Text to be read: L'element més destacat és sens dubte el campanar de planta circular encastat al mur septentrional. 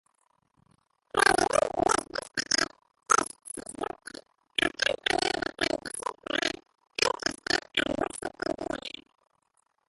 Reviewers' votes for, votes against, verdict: 0, 2, rejected